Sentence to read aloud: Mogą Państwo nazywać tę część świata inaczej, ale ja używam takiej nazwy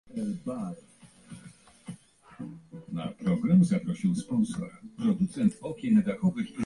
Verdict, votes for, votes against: rejected, 0, 2